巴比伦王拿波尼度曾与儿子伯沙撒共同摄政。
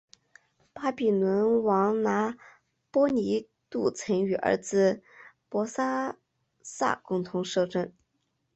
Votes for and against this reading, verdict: 1, 2, rejected